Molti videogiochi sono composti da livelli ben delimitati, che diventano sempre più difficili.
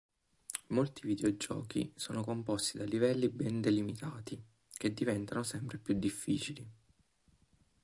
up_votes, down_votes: 3, 1